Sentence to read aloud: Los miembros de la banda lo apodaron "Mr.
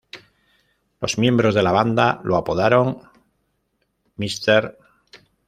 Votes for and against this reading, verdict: 2, 0, accepted